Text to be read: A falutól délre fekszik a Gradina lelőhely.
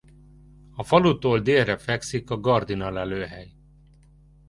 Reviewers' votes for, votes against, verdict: 0, 2, rejected